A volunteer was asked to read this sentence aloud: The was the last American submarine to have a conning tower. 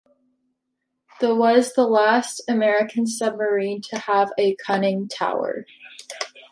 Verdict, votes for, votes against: accepted, 2, 0